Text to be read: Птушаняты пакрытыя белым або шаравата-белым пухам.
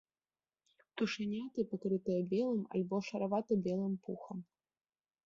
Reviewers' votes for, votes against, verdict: 0, 2, rejected